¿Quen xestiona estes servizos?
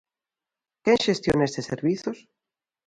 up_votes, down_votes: 0, 2